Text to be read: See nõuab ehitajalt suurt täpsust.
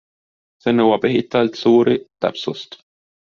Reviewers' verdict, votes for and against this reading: rejected, 0, 2